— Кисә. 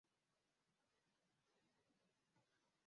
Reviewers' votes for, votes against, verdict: 0, 2, rejected